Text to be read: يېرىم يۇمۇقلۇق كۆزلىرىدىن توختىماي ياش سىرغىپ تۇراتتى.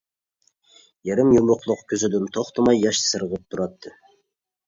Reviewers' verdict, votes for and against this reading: rejected, 0, 2